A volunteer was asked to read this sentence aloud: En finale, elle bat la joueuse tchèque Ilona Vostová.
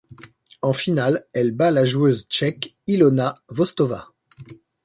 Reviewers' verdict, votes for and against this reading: accepted, 2, 0